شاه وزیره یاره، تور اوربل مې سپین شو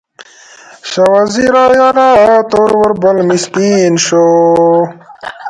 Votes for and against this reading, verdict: 1, 2, rejected